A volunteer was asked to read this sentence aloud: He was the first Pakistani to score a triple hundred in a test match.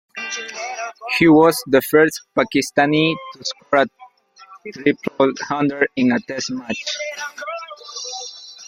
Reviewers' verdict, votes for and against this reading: rejected, 0, 2